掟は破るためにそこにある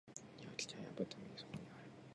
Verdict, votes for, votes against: rejected, 0, 2